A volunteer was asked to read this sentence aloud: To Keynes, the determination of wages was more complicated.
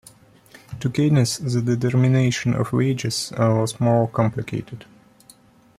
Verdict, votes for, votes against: accepted, 2, 1